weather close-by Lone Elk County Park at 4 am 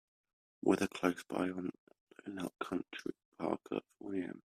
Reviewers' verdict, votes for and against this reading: rejected, 0, 2